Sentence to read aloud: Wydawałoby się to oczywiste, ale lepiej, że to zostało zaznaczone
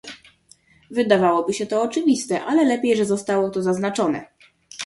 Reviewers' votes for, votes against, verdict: 1, 2, rejected